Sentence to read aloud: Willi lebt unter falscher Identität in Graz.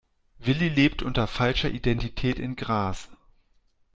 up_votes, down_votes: 1, 2